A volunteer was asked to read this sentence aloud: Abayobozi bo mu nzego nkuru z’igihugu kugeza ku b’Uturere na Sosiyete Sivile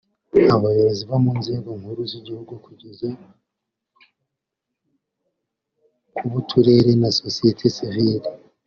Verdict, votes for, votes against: rejected, 0, 2